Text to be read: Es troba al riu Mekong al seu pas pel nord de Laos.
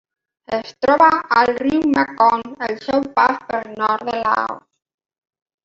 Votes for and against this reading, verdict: 1, 2, rejected